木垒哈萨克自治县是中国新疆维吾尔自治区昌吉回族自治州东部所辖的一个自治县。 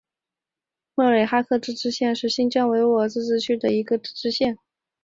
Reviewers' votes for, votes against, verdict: 1, 2, rejected